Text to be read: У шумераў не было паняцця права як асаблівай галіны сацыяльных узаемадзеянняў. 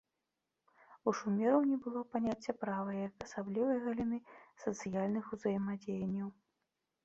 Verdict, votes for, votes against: accepted, 2, 0